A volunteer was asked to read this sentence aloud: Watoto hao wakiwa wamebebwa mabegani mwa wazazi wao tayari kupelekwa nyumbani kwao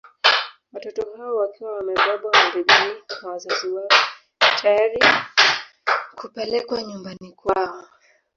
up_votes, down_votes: 0, 2